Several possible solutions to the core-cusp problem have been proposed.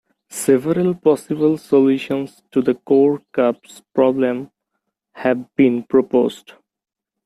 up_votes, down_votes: 0, 2